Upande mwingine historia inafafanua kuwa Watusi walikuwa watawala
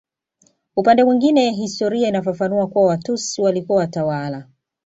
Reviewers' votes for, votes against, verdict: 2, 0, accepted